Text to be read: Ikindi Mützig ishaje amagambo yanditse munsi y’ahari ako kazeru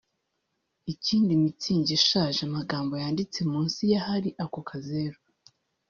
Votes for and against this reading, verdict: 2, 0, accepted